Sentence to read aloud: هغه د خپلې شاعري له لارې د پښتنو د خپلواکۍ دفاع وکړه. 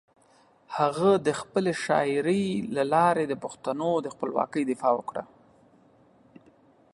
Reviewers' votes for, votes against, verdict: 2, 0, accepted